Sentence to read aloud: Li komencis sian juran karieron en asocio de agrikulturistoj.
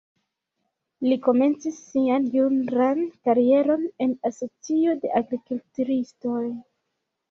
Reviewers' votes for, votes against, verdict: 1, 2, rejected